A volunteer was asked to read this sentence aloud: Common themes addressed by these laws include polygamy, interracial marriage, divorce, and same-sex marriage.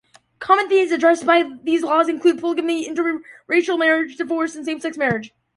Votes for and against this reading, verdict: 0, 2, rejected